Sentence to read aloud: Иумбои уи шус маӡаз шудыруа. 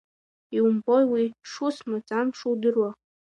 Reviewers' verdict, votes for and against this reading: rejected, 1, 2